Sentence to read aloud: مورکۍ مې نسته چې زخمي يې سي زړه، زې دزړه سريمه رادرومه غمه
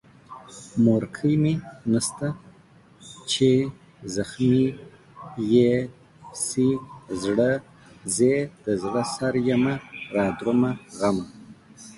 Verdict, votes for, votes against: accepted, 2, 0